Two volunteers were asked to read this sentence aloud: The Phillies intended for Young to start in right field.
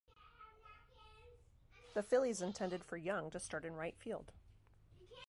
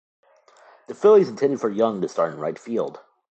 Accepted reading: second